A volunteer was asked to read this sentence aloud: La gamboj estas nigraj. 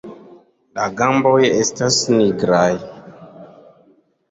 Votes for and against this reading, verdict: 2, 0, accepted